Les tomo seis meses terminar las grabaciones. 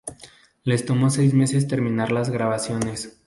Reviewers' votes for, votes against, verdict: 2, 0, accepted